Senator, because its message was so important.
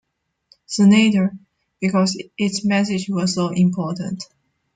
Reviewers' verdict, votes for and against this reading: accepted, 2, 0